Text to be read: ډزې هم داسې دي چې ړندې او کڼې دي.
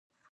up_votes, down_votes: 0, 2